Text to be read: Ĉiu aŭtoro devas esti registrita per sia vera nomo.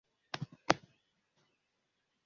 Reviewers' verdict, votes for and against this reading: rejected, 0, 2